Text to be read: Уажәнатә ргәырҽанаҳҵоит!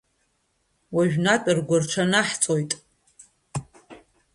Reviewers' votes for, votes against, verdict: 2, 0, accepted